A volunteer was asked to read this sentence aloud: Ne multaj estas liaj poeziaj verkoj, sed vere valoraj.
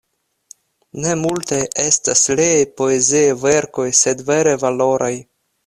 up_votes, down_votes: 1, 2